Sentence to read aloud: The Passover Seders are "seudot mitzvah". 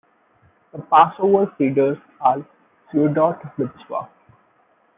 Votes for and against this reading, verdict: 1, 2, rejected